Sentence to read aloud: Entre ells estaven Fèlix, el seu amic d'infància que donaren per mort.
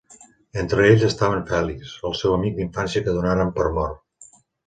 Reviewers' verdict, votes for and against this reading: accepted, 3, 0